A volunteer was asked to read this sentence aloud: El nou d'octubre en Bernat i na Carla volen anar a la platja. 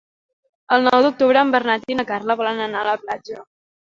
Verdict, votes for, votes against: accepted, 3, 0